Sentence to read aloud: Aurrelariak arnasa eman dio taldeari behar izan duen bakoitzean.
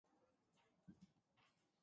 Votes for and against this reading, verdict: 0, 2, rejected